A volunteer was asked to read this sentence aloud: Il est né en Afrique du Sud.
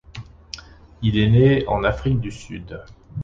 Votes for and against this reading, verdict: 2, 0, accepted